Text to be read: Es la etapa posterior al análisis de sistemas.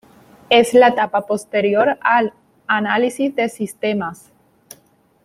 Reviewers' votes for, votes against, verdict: 1, 2, rejected